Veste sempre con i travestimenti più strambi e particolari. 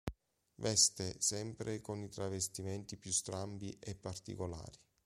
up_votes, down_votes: 2, 0